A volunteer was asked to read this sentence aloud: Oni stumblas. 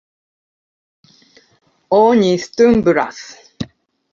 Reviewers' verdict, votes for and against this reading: rejected, 1, 2